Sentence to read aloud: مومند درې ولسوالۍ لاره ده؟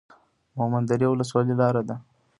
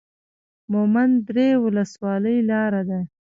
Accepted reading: first